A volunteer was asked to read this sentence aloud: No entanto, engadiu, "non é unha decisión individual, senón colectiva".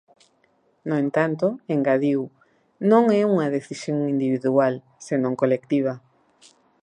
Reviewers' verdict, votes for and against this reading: accepted, 2, 0